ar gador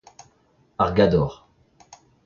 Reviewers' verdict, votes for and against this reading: rejected, 1, 2